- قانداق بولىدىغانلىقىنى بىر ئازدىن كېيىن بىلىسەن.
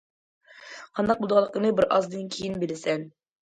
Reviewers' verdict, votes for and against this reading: accepted, 2, 0